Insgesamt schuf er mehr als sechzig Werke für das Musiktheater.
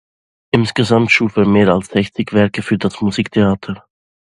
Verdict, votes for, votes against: accepted, 2, 0